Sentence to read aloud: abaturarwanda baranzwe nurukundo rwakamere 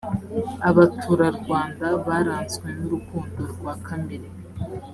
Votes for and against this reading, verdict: 2, 0, accepted